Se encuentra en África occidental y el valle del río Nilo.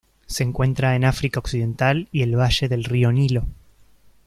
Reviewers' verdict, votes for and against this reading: accepted, 2, 0